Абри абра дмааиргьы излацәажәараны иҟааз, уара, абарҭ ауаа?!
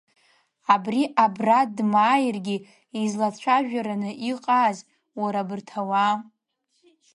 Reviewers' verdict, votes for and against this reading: accepted, 2, 0